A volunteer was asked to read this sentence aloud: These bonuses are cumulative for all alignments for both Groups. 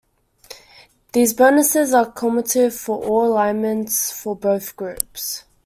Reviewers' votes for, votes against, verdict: 2, 1, accepted